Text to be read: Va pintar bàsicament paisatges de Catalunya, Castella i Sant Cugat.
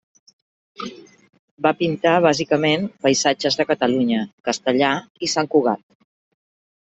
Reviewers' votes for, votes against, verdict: 0, 2, rejected